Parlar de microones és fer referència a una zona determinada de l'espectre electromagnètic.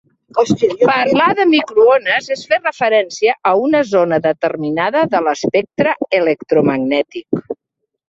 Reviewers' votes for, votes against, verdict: 1, 2, rejected